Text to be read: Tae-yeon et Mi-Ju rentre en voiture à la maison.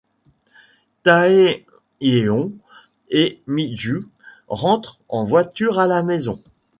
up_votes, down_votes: 1, 2